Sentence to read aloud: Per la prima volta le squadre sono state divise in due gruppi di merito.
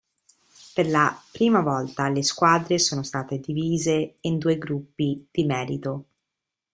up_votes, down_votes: 2, 0